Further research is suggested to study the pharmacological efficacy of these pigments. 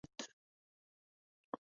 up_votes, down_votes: 0, 2